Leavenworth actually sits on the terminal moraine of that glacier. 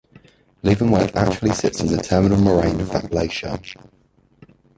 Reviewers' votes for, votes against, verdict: 1, 2, rejected